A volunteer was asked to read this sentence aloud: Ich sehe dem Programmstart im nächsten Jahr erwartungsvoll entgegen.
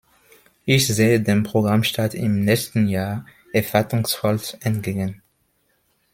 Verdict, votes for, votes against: accepted, 2, 1